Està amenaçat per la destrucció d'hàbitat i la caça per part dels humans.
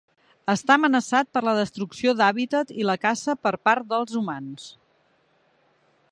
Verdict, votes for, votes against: accepted, 3, 0